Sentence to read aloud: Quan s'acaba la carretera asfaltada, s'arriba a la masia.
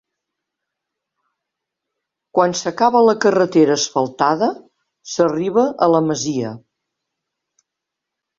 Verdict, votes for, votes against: accepted, 3, 0